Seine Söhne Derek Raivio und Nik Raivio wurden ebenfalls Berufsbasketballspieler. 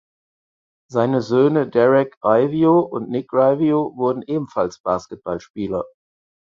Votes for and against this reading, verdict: 0, 4, rejected